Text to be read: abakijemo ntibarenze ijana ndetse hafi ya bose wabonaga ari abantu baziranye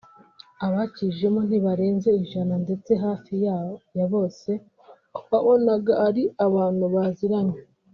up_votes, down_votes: 1, 3